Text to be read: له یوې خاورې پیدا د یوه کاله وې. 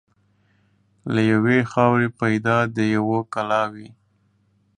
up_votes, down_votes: 1, 2